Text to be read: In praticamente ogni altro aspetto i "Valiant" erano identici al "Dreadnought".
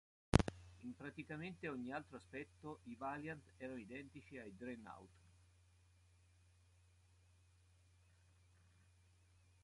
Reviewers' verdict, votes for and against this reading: rejected, 0, 2